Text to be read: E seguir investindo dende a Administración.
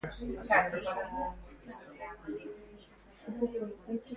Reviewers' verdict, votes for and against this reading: rejected, 0, 2